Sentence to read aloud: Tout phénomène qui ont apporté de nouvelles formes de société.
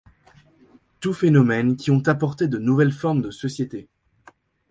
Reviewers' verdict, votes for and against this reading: accepted, 2, 0